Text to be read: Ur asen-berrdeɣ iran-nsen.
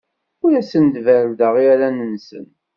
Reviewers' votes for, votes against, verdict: 2, 0, accepted